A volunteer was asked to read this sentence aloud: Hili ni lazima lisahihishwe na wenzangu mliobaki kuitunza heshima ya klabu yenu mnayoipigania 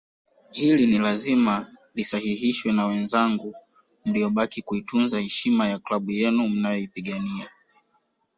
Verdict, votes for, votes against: accepted, 2, 1